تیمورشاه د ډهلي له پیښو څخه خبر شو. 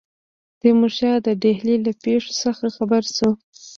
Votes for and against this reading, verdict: 1, 2, rejected